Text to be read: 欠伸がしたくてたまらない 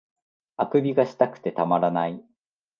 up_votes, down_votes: 2, 0